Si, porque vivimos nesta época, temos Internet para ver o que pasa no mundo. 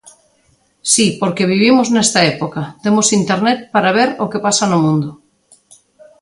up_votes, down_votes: 2, 0